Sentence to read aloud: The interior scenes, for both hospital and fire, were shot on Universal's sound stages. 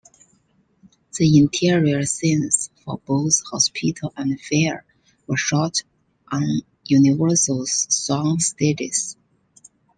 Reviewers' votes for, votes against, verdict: 2, 1, accepted